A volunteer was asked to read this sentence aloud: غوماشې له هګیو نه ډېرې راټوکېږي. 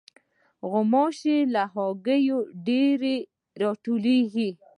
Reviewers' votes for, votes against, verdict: 1, 2, rejected